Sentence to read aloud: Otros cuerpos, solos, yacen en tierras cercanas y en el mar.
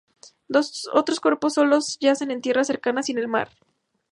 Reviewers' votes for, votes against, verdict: 2, 2, rejected